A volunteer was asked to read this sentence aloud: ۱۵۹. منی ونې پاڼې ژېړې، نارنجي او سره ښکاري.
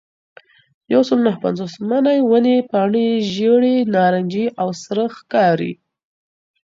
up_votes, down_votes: 0, 2